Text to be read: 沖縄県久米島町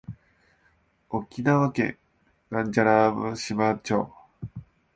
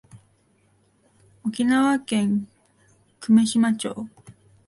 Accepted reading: second